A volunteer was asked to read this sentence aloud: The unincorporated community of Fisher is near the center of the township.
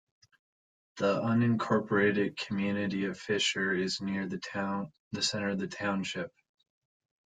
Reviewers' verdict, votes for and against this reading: rejected, 1, 2